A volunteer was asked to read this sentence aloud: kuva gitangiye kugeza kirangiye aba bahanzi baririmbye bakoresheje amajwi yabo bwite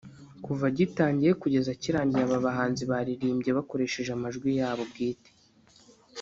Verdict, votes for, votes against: accepted, 3, 0